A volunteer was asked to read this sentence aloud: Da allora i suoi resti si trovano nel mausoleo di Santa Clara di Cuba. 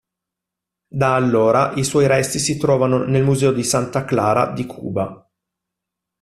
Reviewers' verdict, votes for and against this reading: rejected, 1, 2